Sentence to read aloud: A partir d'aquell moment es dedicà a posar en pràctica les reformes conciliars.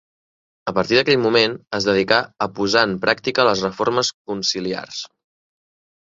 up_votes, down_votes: 2, 0